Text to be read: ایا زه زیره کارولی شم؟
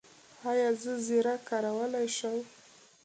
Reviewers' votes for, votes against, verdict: 2, 1, accepted